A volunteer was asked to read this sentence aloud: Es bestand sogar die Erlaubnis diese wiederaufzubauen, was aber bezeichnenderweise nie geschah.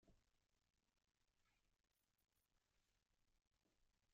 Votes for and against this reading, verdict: 1, 2, rejected